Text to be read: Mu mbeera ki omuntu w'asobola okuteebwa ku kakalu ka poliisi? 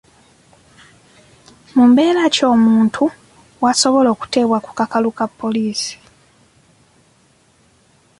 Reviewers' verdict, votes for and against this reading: accepted, 2, 0